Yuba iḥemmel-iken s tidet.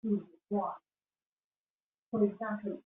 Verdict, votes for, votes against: rejected, 0, 2